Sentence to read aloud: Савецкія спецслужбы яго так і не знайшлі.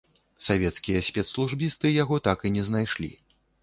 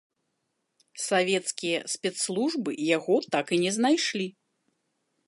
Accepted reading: second